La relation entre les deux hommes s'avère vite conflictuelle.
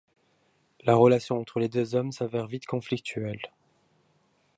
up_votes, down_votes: 2, 0